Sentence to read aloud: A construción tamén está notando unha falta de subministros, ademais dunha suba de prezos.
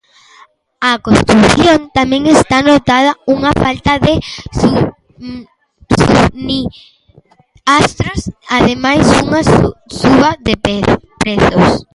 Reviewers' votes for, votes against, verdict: 0, 2, rejected